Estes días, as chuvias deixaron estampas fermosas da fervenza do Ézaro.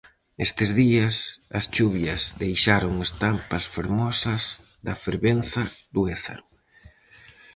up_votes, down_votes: 4, 0